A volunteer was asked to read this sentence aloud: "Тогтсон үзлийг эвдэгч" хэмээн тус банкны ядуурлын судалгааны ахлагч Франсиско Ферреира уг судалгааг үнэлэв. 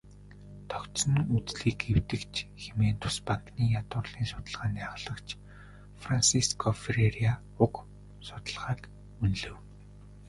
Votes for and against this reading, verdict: 0, 2, rejected